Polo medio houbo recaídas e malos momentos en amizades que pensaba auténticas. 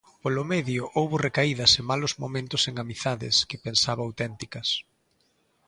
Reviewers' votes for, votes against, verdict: 2, 0, accepted